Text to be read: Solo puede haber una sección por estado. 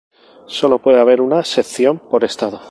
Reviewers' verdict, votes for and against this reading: accepted, 4, 0